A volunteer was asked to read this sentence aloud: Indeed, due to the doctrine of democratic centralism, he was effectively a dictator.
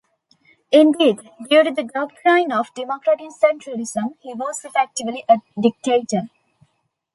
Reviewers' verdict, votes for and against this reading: accepted, 2, 0